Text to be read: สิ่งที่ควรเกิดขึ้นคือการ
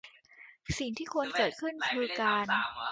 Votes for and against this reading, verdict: 0, 2, rejected